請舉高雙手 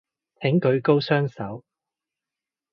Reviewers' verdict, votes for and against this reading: accepted, 2, 0